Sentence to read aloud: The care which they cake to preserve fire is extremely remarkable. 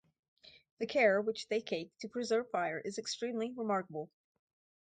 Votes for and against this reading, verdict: 4, 0, accepted